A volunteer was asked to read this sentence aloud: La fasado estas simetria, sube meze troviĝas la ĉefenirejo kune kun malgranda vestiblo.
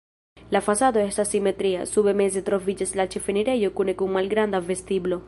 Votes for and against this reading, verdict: 0, 2, rejected